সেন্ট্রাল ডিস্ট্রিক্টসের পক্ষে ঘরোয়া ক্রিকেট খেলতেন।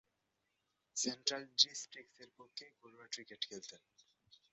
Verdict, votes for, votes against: rejected, 0, 2